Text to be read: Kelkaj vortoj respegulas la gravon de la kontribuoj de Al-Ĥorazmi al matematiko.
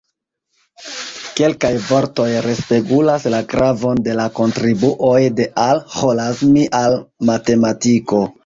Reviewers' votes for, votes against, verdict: 2, 0, accepted